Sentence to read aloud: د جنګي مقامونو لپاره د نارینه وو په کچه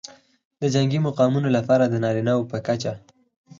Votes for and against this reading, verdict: 0, 4, rejected